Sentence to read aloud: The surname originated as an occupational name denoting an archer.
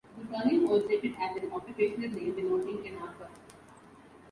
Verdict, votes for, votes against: accepted, 2, 0